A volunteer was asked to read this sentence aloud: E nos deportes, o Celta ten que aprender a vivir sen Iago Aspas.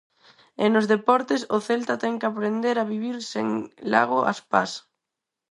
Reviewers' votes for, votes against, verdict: 0, 4, rejected